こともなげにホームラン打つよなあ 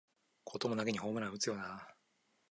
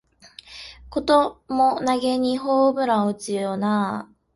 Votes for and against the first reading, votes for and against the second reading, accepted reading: 2, 0, 0, 2, first